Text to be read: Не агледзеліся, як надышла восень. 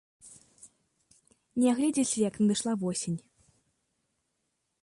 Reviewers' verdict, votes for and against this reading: rejected, 1, 2